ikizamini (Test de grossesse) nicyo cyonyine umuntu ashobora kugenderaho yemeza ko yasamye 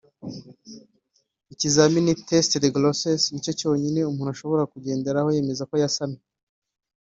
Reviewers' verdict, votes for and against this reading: accepted, 4, 0